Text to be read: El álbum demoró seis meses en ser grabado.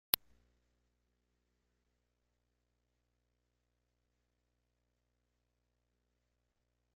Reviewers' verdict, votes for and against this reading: rejected, 0, 3